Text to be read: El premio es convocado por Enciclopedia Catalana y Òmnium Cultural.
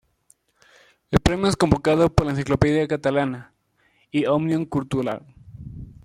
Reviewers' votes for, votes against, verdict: 0, 2, rejected